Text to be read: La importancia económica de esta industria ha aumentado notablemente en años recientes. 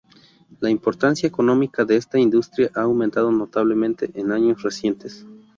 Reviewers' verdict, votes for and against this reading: accepted, 2, 0